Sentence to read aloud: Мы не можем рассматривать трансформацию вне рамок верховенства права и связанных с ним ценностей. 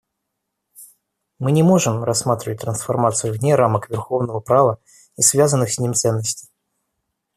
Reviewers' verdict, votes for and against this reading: rejected, 0, 2